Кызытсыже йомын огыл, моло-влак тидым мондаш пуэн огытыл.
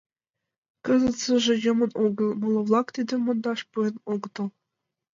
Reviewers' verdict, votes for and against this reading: rejected, 1, 2